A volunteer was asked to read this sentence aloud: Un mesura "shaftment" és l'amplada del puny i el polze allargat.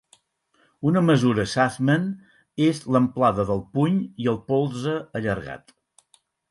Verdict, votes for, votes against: rejected, 2, 8